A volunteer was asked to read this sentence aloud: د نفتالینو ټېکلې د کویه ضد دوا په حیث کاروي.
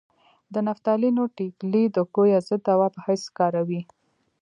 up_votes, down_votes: 2, 0